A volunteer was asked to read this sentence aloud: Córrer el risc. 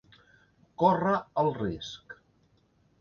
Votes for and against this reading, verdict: 3, 0, accepted